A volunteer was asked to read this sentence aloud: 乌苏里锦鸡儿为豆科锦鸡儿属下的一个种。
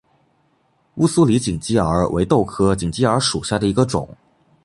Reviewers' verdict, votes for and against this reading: accepted, 2, 0